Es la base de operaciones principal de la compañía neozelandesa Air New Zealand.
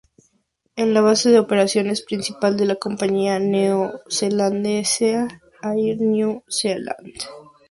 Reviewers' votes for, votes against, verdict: 2, 0, accepted